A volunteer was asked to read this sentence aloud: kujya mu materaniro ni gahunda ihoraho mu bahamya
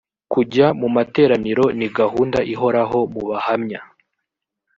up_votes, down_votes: 2, 0